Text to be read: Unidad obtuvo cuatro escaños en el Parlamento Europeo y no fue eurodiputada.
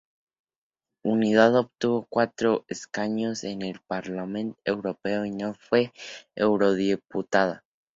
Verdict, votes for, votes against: accepted, 2, 0